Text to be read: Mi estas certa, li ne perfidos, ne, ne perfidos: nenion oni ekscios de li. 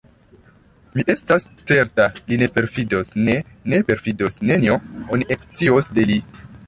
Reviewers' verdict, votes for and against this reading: rejected, 0, 2